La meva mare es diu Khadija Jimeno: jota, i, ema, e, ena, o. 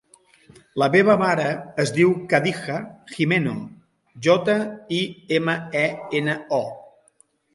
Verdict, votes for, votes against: accepted, 2, 0